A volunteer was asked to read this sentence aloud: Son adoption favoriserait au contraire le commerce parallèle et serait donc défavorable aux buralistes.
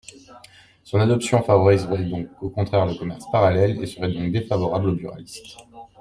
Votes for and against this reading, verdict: 1, 2, rejected